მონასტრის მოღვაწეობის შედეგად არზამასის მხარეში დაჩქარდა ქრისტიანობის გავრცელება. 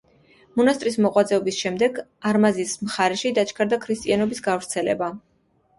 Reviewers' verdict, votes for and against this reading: rejected, 0, 2